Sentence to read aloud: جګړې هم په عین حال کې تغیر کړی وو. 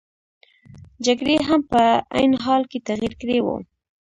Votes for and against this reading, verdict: 0, 2, rejected